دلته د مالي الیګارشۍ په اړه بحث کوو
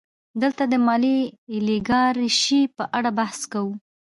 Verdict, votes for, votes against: accepted, 2, 1